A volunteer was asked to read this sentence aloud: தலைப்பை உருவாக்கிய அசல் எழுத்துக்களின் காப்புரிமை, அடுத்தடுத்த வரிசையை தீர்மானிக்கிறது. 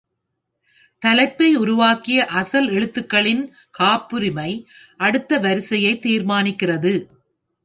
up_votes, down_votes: 1, 2